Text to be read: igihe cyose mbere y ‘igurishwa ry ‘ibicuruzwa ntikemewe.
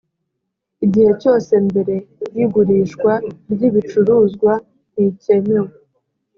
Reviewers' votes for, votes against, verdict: 3, 0, accepted